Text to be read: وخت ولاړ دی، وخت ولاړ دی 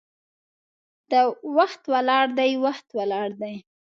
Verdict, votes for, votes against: accepted, 2, 0